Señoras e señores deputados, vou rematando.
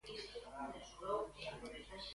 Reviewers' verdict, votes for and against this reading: rejected, 0, 2